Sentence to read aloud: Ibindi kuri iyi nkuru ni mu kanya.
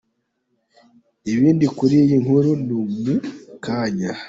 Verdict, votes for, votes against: accepted, 2, 0